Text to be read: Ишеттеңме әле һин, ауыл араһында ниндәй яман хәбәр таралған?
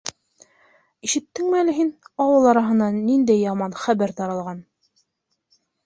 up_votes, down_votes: 1, 2